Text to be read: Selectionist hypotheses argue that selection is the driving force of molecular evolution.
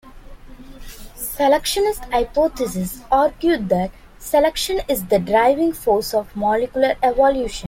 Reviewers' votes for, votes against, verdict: 2, 0, accepted